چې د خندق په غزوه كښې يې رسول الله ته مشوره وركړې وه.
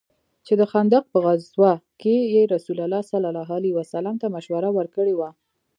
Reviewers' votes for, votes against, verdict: 2, 0, accepted